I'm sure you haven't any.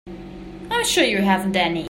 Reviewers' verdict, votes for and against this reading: accepted, 2, 0